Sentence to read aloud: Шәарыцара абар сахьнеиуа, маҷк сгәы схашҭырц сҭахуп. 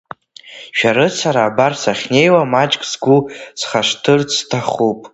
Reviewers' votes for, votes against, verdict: 1, 2, rejected